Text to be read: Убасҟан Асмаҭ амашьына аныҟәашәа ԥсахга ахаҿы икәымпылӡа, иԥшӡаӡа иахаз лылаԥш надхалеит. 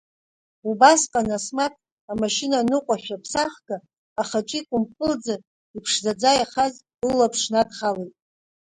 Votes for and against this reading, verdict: 2, 0, accepted